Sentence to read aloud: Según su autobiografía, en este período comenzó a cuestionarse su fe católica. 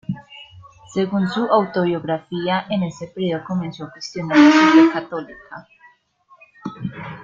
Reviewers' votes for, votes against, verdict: 1, 2, rejected